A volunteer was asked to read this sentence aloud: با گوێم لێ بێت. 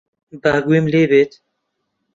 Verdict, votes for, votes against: accepted, 2, 0